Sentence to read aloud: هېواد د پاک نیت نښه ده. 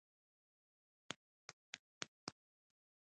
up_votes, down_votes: 1, 2